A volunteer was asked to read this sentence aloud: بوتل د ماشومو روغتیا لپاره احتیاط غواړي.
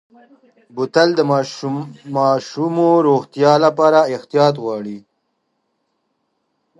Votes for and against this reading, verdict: 0, 3, rejected